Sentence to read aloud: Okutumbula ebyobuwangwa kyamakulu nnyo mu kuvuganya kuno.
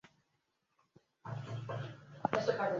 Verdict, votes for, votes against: rejected, 0, 3